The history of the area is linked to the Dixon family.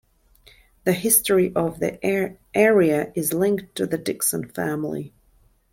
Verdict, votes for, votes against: rejected, 0, 2